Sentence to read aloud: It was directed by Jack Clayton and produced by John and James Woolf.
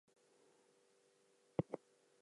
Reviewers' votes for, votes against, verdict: 0, 2, rejected